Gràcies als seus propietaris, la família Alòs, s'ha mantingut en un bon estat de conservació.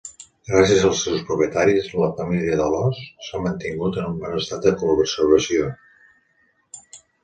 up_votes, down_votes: 0, 2